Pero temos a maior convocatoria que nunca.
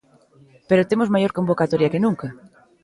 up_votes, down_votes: 0, 2